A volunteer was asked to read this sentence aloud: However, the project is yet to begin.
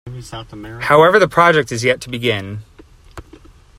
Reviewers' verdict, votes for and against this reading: rejected, 1, 2